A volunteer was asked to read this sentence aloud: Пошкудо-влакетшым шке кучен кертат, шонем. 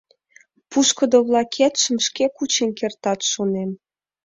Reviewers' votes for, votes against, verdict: 0, 2, rejected